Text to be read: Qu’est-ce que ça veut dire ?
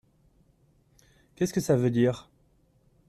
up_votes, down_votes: 2, 0